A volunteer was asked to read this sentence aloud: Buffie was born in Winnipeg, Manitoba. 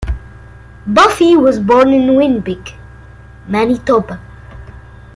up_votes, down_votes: 2, 0